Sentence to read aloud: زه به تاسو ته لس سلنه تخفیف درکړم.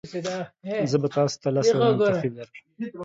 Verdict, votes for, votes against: rejected, 1, 2